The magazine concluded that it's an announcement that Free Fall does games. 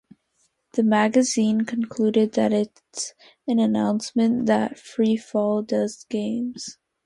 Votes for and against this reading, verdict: 2, 0, accepted